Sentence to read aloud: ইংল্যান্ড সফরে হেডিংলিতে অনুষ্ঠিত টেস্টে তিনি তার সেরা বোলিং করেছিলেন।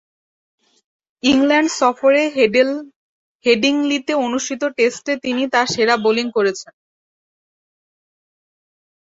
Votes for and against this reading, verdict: 0, 2, rejected